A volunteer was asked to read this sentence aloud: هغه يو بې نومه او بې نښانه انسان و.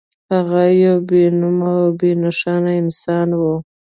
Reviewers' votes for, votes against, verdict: 1, 2, rejected